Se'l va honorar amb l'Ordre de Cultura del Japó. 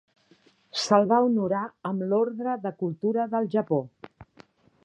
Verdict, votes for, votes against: accepted, 3, 0